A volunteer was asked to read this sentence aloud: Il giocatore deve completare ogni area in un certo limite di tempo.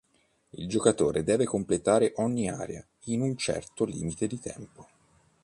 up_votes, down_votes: 2, 0